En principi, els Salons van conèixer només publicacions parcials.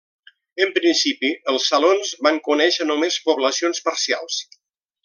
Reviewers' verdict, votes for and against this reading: rejected, 0, 2